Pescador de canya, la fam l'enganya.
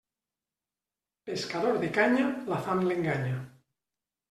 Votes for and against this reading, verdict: 2, 0, accepted